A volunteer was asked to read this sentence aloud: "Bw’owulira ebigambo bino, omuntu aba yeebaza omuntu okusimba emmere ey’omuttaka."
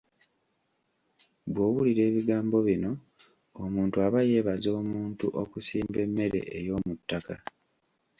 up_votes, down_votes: 2, 0